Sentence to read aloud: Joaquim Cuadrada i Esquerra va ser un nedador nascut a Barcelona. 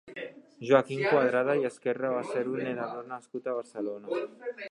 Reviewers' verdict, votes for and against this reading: rejected, 1, 3